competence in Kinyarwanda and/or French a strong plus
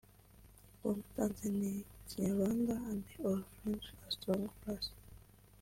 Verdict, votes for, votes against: rejected, 3, 4